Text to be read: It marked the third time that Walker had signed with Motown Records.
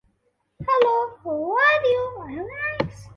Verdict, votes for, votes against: rejected, 0, 2